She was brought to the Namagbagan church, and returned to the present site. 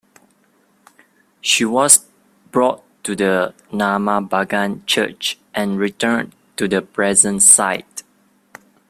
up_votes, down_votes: 2, 0